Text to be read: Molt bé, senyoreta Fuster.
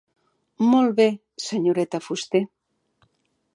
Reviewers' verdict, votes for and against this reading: accepted, 2, 0